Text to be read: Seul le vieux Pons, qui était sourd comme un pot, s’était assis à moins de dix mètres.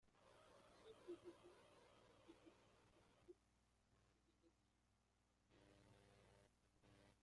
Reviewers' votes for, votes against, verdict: 0, 2, rejected